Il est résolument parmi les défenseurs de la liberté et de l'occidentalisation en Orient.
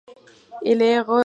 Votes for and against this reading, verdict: 0, 2, rejected